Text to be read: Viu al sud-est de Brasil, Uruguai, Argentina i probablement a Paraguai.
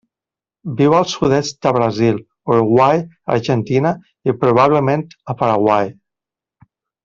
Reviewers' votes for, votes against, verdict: 3, 1, accepted